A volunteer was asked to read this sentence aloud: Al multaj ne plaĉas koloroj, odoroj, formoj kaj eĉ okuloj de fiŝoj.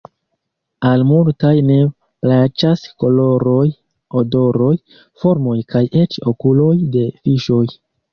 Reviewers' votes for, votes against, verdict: 2, 1, accepted